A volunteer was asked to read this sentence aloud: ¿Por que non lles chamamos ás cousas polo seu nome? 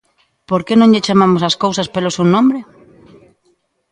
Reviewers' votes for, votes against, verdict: 0, 2, rejected